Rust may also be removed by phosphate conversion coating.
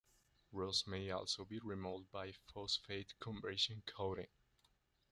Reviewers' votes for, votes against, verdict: 2, 0, accepted